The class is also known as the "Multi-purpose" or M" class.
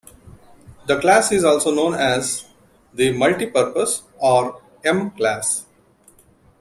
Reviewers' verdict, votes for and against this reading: accepted, 2, 0